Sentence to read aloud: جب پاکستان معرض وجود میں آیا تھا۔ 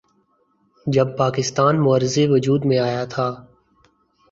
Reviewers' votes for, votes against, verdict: 2, 0, accepted